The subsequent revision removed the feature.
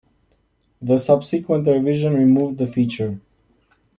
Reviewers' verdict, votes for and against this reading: accepted, 2, 0